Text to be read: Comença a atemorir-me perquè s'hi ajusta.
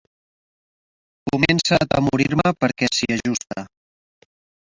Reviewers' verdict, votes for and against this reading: rejected, 0, 2